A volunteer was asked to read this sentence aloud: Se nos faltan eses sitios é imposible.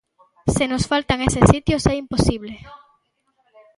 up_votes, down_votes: 1, 2